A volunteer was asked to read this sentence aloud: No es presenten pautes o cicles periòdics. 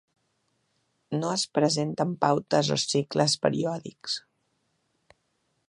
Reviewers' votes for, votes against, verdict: 3, 0, accepted